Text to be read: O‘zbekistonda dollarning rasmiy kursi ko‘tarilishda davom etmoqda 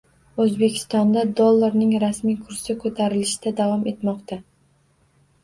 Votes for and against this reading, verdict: 2, 0, accepted